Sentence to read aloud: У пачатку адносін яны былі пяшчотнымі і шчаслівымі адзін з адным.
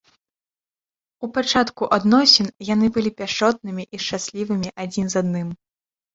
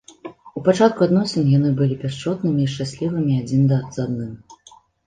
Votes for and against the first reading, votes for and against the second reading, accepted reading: 2, 0, 1, 2, first